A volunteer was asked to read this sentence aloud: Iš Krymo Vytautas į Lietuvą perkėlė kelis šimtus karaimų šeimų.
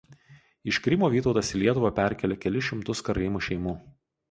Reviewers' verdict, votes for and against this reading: accepted, 4, 0